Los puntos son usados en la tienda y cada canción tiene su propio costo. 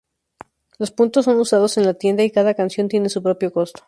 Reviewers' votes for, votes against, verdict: 2, 0, accepted